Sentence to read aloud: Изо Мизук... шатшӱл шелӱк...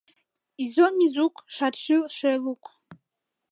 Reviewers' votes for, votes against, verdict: 0, 2, rejected